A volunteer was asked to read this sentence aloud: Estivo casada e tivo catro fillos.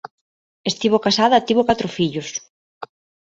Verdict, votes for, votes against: rejected, 0, 2